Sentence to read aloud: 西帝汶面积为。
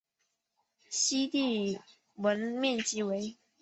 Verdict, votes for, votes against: accepted, 5, 0